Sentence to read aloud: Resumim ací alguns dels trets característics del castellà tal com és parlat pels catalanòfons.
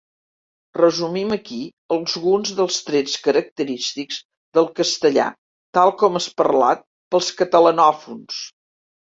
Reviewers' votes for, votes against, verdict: 1, 3, rejected